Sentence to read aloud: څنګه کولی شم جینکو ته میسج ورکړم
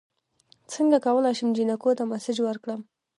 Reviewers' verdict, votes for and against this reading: rejected, 1, 2